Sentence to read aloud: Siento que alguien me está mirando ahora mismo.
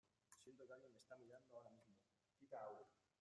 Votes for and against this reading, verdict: 0, 2, rejected